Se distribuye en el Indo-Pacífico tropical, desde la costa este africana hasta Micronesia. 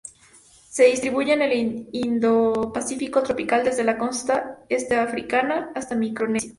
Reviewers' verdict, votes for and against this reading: rejected, 0, 2